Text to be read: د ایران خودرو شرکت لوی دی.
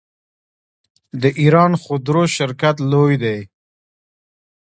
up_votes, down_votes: 2, 1